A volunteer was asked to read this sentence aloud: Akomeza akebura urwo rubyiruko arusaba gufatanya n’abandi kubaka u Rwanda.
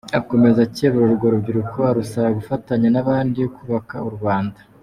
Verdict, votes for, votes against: accepted, 2, 0